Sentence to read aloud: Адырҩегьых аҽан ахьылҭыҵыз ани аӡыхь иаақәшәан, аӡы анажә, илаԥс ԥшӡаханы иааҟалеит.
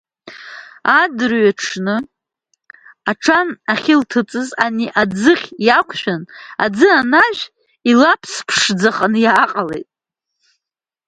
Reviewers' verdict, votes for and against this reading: accepted, 2, 0